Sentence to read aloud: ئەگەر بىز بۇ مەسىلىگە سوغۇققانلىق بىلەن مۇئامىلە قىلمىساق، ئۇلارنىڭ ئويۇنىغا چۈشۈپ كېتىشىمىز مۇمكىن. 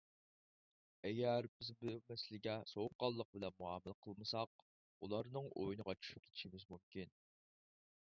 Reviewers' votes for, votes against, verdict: 2, 4, rejected